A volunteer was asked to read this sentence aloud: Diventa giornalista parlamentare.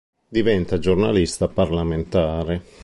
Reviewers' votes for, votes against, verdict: 2, 0, accepted